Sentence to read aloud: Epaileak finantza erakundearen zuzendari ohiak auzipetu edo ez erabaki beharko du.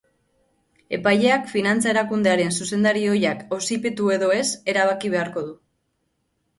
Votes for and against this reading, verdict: 3, 0, accepted